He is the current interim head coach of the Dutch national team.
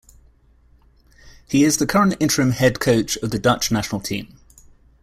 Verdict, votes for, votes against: accepted, 2, 0